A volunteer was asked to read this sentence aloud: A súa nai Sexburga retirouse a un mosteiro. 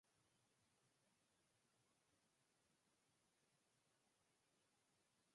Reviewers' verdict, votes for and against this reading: rejected, 0, 4